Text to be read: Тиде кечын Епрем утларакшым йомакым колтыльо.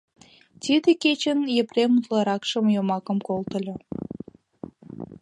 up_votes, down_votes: 2, 0